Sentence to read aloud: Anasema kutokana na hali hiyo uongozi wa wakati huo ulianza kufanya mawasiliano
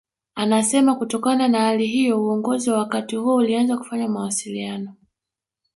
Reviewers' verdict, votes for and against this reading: rejected, 1, 2